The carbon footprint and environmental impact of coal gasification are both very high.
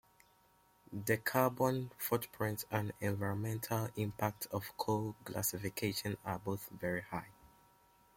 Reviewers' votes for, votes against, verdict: 2, 1, accepted